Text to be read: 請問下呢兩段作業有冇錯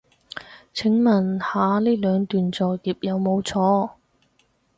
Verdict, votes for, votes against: accepted, 4, 0